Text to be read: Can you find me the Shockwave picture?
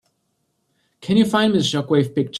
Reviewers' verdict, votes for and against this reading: rejected, 1, 2